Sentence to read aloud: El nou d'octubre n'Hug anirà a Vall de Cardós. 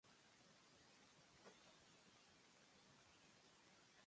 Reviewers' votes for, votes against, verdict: 1, 2, rejected